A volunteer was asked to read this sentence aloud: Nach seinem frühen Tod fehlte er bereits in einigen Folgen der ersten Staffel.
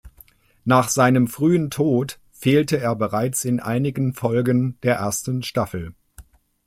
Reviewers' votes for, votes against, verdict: 2, 0, accepted